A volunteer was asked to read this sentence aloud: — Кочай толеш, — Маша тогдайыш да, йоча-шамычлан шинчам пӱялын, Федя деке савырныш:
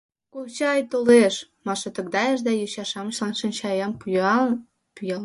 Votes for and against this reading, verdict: 0, 3, rejected